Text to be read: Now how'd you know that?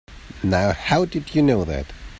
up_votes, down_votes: 1, 2